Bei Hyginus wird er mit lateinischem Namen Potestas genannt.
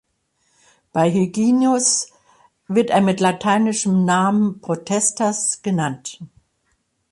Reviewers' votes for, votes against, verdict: 1, 2, rejected